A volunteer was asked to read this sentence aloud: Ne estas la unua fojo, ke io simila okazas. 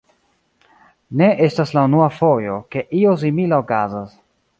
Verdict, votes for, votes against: accepted, 2, 0